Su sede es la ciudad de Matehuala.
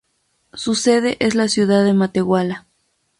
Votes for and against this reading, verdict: 2, 0, accepted